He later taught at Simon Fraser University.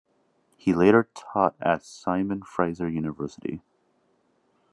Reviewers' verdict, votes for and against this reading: accepted, 3, 0